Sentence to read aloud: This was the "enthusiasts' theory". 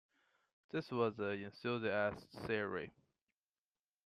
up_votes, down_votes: 0, 2